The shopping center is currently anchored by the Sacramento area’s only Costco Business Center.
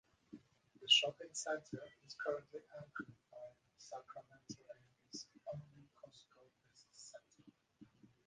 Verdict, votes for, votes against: rejected, 0, 4